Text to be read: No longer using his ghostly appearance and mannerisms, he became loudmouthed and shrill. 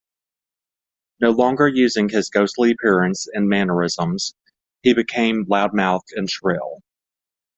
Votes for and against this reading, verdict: 2, 0, accepted